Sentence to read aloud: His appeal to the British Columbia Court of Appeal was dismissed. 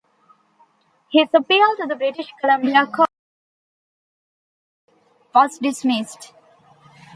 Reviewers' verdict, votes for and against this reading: rejected, 0, 2